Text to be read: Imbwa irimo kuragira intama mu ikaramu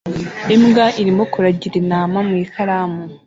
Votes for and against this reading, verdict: 2, 0, accepted